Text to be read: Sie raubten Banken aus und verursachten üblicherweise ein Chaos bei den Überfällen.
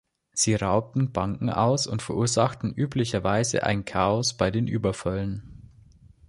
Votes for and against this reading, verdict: 2, 0, accepted